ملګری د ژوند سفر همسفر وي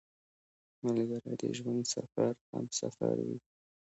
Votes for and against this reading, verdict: 2, 0, accepted